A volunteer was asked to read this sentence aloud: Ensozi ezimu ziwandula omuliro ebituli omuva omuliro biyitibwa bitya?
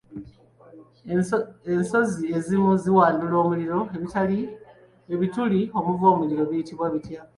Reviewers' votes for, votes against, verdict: 2, 0, accepted